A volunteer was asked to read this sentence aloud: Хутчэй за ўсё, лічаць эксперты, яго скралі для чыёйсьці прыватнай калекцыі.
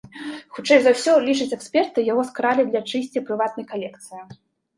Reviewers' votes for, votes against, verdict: 0, 2, rejected